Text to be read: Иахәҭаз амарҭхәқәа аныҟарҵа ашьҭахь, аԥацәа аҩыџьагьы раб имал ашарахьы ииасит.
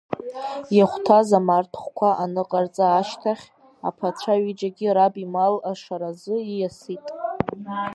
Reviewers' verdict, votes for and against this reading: rejected, 1, 2